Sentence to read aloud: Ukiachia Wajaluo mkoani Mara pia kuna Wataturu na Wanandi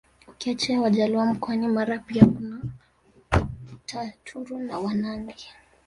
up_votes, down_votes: 1, 2